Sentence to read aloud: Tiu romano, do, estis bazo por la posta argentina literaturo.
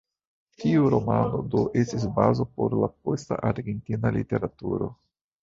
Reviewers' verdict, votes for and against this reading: rejected, 0, 2